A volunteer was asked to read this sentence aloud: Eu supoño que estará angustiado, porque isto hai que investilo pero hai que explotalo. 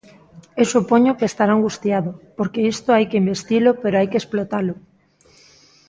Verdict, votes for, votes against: accepted, 2, 0